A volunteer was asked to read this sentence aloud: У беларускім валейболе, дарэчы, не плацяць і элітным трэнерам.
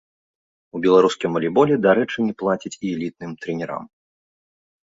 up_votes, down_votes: 2, 0